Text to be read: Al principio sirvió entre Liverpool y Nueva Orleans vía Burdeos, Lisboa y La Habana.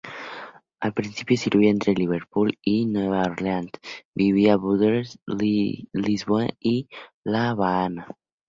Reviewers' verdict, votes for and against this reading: accepted, 2, 0